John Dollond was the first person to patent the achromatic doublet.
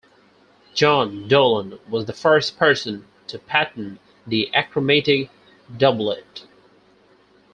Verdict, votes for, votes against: accepted, 4, 2